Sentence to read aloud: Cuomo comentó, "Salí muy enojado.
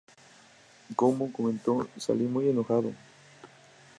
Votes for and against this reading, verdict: 4, 0, accepted